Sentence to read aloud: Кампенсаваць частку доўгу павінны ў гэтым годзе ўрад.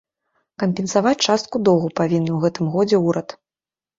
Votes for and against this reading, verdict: 1, 2, rejected